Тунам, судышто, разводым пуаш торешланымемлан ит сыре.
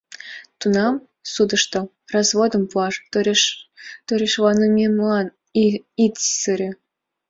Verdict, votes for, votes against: rejected, 0, 2